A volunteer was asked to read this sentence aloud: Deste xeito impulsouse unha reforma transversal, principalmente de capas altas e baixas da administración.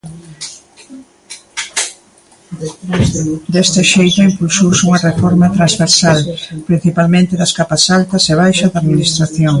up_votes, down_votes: 1, 2